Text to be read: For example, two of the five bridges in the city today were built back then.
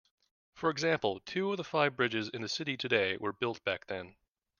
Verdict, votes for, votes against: accepted, 2, 0